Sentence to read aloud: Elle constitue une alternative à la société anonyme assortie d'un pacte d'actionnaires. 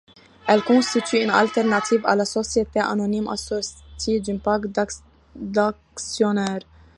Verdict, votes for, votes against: accepted, 2, 0